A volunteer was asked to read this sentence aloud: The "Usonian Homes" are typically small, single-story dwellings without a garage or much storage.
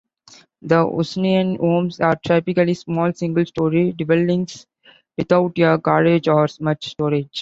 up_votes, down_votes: 2, 0